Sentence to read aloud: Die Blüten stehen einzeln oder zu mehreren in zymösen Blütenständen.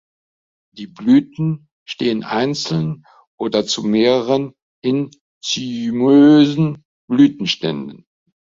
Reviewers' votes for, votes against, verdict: 0, 3, rejected